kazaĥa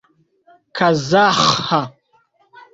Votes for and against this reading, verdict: 2, 1, accepted